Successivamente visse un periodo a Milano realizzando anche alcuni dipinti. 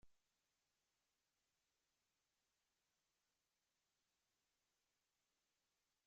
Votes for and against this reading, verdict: 0, 2, rejected